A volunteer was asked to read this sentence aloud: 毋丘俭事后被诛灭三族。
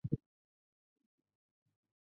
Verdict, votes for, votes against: rejected, 2, 5